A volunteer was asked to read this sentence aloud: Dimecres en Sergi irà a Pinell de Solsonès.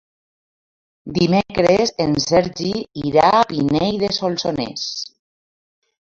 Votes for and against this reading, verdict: 3, 0, accepted